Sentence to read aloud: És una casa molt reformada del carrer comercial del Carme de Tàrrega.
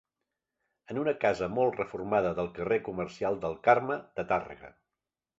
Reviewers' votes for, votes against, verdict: 2, 0, accepted